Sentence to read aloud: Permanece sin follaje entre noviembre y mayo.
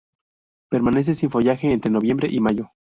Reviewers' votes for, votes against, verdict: 0, 2, rejected